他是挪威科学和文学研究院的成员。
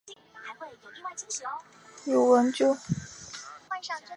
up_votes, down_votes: 0, 2